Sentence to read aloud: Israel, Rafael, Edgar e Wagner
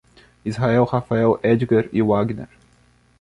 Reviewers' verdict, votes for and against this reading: rejected, 1, 2